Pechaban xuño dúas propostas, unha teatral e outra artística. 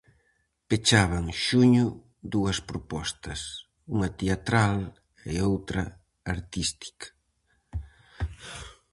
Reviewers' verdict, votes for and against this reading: accepted, 4, 0